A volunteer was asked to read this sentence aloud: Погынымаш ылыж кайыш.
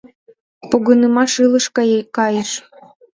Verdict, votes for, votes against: rejected, 0, 2